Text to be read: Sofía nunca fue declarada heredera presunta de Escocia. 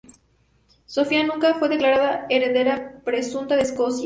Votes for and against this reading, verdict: 0, 2, rejected